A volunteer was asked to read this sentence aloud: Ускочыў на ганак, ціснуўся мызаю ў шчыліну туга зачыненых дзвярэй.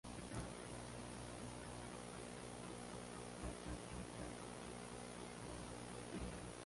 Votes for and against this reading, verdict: 0, 2, rejected